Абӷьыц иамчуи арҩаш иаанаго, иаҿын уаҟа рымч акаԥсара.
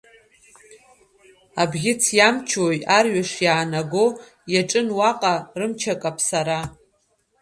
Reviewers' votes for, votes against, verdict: 1, 2, rejected